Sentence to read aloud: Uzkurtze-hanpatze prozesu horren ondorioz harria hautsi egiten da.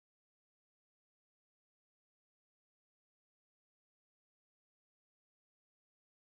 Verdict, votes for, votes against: rejected, 0, 2